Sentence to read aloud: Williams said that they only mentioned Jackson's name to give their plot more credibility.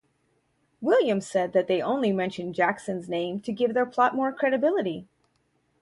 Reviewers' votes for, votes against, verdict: 2, 0, accepted